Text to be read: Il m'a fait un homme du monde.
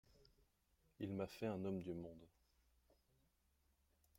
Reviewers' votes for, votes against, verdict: 1, 2, rejected